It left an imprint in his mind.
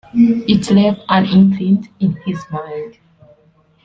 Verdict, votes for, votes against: accepted, 2, 1